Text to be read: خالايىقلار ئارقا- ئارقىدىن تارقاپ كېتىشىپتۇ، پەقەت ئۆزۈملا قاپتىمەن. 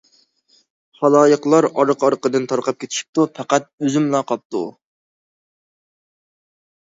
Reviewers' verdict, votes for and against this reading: rejected, 0, 2